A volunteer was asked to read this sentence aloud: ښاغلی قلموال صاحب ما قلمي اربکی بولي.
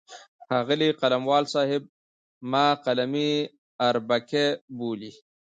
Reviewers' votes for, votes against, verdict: 2, 0, accepted